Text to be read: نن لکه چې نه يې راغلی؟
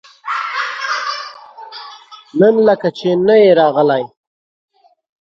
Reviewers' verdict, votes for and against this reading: rejected, 1, 2